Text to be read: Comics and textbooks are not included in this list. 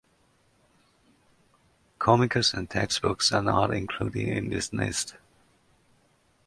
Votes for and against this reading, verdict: 0, 2, rejected